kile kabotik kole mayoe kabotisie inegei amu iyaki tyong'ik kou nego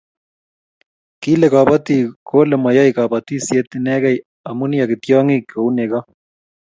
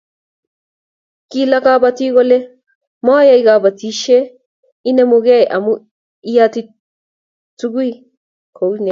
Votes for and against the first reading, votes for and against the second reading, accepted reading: 2, 0, 1, 2, first